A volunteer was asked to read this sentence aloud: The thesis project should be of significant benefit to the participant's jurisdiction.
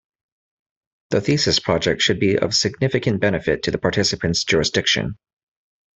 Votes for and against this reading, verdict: 2, 0, accepted